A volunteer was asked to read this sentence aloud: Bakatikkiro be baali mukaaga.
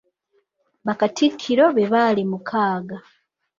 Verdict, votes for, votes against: rejected, 1, 2